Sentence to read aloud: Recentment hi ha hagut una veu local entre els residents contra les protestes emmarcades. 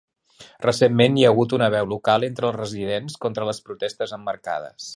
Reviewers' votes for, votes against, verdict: 3, 0, accepted